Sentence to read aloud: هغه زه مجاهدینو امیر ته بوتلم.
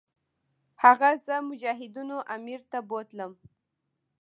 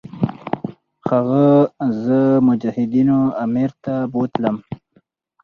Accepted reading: second